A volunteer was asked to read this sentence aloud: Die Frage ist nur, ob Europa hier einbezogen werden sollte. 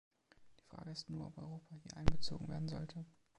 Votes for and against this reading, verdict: 2, 1, accepted